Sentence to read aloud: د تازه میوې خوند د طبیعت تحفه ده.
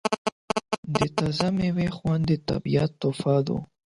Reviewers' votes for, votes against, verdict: 4, 8, rejected